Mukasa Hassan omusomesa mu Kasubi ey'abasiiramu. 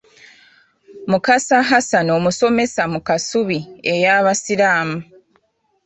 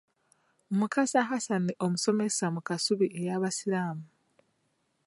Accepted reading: second